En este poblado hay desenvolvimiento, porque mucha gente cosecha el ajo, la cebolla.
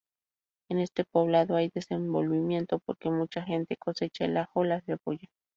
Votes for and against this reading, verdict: 4, 0, accepted